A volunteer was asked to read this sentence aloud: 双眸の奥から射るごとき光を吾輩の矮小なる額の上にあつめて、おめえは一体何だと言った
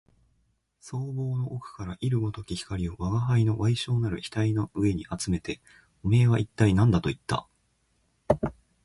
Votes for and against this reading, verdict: 2, 0, accepted